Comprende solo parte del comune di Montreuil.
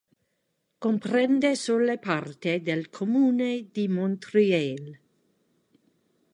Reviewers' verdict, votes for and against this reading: rejected, 1, 2